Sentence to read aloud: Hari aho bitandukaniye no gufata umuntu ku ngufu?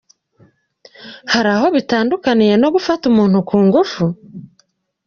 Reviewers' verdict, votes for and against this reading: accepted, 2, 0